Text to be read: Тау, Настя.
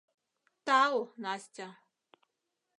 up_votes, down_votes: 2, 0